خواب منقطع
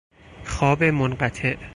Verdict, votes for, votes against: accepted, 4, 0